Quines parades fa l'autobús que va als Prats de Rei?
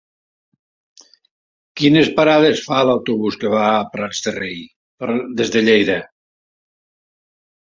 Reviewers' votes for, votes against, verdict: 1, 2, rejected